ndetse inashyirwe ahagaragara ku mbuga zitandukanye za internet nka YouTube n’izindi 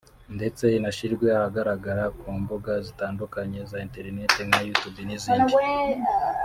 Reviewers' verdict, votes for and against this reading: rejected, 1, 2